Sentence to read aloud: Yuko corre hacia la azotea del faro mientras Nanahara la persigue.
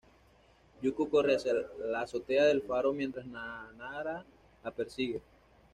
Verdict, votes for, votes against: rejected, 1, 2